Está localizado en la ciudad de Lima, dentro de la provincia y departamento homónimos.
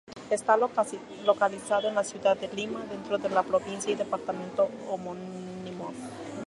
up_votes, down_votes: 2, 2